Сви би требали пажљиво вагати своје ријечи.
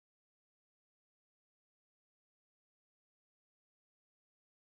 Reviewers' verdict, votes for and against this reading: rejected, 0, 2